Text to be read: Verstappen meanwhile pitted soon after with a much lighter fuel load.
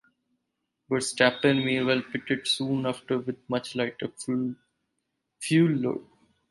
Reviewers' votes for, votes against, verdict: 0, 2, rejected